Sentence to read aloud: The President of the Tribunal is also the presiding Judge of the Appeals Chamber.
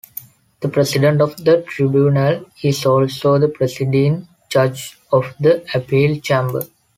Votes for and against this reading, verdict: 2, 3, rejected